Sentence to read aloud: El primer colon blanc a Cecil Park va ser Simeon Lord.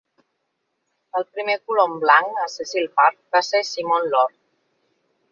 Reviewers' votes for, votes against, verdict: 2, 0, accepted